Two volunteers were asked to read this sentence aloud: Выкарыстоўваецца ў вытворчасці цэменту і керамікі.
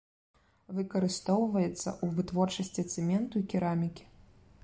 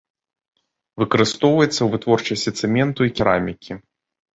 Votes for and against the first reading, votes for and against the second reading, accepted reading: 1, 2, 2, 0, second